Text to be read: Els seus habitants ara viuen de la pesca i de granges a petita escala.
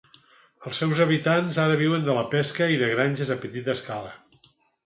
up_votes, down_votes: 4, 0